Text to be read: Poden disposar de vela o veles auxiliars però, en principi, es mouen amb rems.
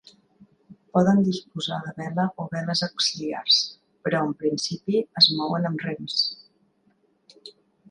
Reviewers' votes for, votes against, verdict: 3, 1, accepted